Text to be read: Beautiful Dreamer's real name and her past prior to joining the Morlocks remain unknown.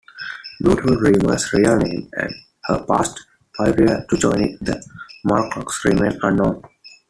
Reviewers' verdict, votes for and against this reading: rejected, 0, 2